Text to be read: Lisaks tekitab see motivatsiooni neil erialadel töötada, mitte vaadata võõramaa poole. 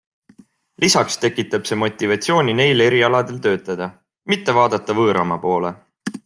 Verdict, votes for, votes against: accepted, 2, 0